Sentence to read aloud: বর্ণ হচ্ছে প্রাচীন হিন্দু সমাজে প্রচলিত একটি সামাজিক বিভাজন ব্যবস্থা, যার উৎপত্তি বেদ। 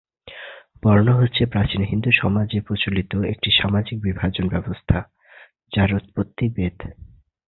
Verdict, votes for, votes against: accepted, 3, 0